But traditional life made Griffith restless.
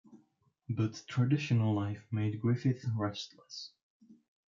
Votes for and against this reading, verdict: 0, 2, rejected